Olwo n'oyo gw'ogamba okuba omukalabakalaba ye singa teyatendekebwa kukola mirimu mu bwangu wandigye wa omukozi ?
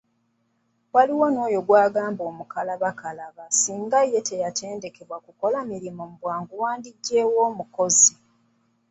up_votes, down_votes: 1, 2